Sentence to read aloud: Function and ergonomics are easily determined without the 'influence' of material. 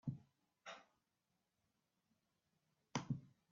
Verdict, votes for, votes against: rejected, 0, 2